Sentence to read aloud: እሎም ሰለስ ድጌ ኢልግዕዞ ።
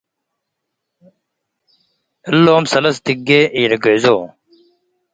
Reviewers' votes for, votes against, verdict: 2, 0, accepted